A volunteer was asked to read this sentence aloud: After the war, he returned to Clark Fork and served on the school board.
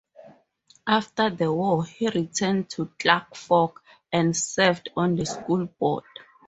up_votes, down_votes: 2, 0